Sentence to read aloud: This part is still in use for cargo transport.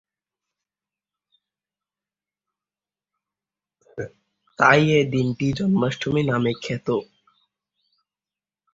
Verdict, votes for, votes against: rejected, 0, 2